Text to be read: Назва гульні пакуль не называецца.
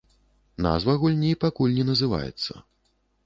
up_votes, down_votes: 2, 0